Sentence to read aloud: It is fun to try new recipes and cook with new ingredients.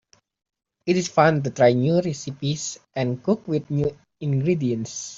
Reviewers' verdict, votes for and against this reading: accepted, 3, 0